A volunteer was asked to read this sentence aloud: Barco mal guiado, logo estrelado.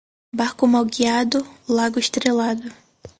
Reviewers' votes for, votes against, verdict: 0, 4, rejected